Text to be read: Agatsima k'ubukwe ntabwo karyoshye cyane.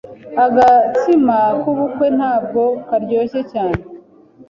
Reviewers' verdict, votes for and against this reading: accepted, 2, 0